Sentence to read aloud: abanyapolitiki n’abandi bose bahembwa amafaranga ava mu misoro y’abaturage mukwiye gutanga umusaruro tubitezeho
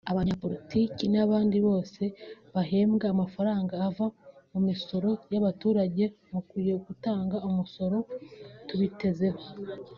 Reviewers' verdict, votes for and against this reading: rejected, 1, 2